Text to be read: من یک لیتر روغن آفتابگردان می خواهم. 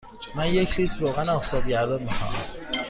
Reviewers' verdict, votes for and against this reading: accepted, 2, 0